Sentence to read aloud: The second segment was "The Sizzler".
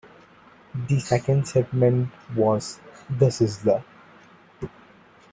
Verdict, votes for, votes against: accepted, 2, 1